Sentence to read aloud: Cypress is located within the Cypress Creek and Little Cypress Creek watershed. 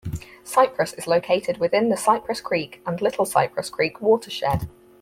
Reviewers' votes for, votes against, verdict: 4, 0, accepted